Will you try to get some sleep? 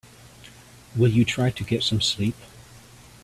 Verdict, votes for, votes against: accepted, 2, 0